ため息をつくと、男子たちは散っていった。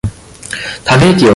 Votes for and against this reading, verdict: 0, 2, rejected